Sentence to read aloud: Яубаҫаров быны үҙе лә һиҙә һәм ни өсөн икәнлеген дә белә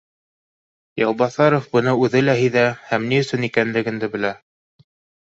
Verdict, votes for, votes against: accepted, 2, 0